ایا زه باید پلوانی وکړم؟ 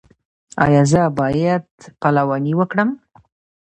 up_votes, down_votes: 2, 1